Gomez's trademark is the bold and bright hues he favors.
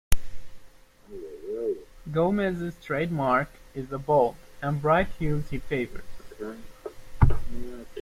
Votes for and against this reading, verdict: 2, 0, accepted